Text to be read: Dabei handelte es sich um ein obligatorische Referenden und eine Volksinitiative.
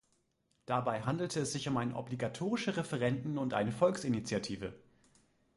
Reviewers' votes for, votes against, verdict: 2, 0, accepted